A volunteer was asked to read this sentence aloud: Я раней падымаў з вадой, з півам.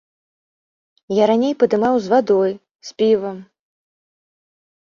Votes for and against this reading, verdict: 2, 0, accepted